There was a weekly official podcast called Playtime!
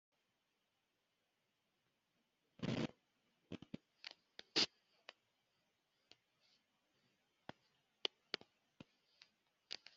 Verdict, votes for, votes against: rejected, 0, 2